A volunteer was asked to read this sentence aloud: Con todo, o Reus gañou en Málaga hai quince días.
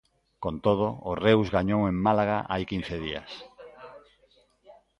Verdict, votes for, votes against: rejected, 0, 2